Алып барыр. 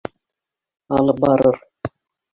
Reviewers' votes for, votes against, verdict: 0, 2, rejected